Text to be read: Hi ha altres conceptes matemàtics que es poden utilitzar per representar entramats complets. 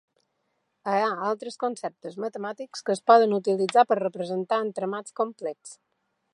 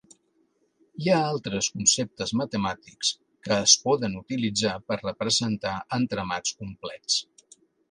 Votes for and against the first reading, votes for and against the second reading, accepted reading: 1, 2, 2, 1, second